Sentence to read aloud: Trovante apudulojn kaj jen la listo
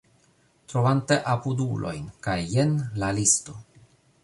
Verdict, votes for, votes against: accepted, 2, 1